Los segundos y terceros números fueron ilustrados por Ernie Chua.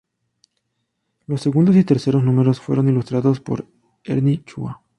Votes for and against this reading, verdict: 2, 0, accepted